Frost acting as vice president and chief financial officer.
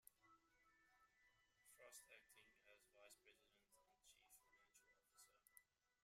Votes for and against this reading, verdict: 0, 2, rejected